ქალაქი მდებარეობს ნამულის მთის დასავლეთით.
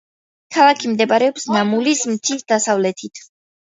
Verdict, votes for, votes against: accepted, 2, 0